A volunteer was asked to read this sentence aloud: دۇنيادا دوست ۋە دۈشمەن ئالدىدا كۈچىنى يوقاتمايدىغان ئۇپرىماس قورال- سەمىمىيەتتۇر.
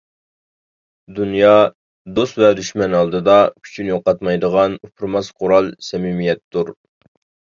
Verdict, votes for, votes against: rejected, 0, 2